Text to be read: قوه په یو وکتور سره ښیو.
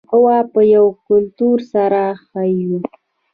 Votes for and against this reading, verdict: 0, 2, rejected